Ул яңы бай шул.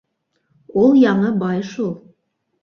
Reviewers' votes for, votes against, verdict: 2, 0, accepted